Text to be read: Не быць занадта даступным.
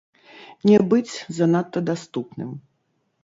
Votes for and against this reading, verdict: 1, 3, rejected